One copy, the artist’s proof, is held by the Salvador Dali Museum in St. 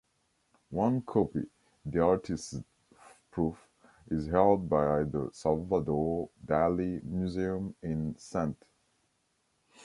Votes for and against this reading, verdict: 1, 2, rejected